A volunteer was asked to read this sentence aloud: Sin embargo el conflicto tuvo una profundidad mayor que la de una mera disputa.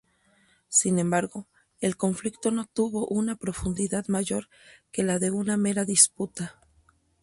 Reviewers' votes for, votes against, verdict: 0, 4, rejected